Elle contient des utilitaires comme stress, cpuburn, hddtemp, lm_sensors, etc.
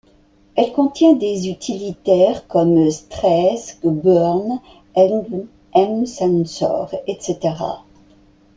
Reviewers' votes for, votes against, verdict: 0, 2, rejected